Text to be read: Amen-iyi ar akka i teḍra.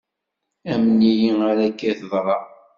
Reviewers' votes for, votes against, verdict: 2, 0, accepted